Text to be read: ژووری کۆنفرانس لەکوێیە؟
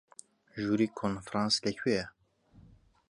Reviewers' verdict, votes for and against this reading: accepted, 2, 0